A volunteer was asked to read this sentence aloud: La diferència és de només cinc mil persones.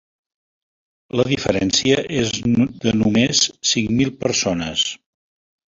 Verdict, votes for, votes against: accepted, 2, 0